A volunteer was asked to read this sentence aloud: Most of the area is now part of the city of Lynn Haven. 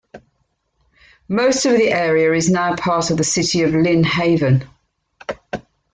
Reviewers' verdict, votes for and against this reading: accepted, 3, 0